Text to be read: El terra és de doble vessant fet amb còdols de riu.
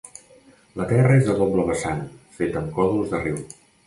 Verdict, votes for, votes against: rejected, 0, 2